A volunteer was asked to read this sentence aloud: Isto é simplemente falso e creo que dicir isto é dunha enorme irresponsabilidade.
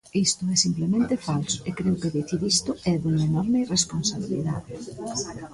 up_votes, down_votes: 2, 0